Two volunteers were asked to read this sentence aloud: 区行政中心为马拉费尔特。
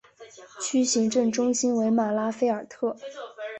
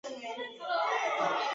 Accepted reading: first